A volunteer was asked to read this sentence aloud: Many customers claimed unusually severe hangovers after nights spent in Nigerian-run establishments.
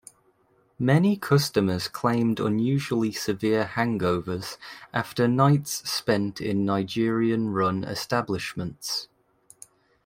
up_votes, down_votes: 2, 0